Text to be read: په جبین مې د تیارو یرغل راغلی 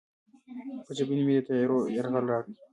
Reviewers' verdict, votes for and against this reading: rejected, 0, 2